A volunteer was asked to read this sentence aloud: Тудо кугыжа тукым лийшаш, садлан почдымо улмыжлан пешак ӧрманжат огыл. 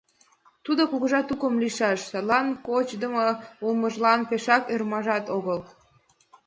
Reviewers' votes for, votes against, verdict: 0, 2, rejected